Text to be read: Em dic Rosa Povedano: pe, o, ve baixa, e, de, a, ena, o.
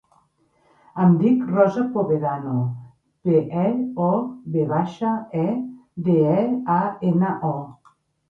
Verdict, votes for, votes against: rejected, 0, 2